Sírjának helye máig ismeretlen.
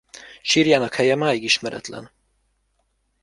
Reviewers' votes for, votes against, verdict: 1, 2, rejected